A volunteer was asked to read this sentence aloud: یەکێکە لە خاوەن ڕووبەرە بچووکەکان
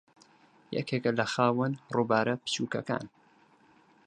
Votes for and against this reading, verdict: 0, 6, rejected